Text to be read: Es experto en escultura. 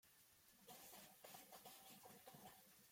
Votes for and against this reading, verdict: 0, 2, rejected